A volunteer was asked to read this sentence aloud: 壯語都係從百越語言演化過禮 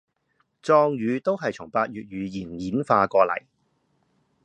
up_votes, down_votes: 2, 0